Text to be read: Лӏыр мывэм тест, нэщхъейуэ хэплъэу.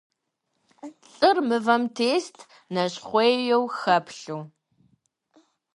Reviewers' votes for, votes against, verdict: 1, 2, rejected